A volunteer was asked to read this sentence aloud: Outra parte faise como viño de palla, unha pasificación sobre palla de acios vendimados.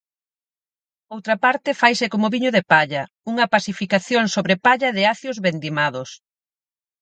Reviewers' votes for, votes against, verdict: 4, 0, accepted